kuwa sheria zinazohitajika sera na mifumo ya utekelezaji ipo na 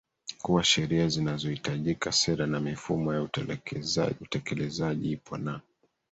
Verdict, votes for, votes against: rejected, 1, 2